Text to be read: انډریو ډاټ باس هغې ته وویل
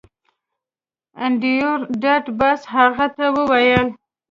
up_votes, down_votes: 0, 2